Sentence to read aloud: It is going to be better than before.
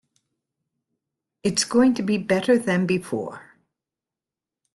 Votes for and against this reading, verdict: 2, 0, accepted